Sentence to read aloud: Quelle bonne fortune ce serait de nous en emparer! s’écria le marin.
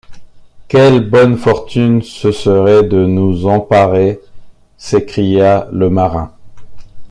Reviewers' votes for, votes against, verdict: 0, 2, rejected